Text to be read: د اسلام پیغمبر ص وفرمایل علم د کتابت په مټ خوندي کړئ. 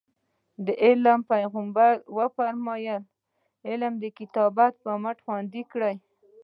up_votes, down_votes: 1, 2